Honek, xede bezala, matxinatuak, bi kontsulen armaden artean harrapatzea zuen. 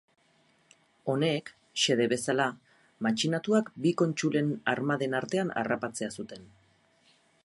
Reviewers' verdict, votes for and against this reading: rejected, 0, 6